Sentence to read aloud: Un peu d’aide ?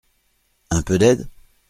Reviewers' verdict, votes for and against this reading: accepted, 2, 0